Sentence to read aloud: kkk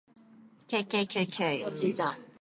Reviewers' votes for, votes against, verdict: 0, 2, rejected